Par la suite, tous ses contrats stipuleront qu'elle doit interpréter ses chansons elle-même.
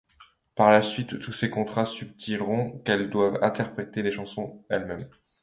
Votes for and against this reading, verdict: 2, 0, accepted